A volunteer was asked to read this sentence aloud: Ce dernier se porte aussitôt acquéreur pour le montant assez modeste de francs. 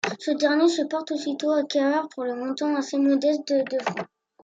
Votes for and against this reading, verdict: 0, 2, rejected